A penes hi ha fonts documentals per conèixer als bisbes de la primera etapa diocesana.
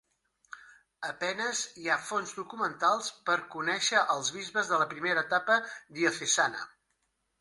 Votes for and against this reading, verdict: 2, 1, accepted